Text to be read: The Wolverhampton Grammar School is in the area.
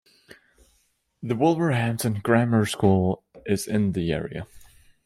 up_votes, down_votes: 2, 0